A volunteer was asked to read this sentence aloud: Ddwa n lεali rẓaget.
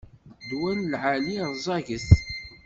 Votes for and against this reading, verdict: 2, 0, accepted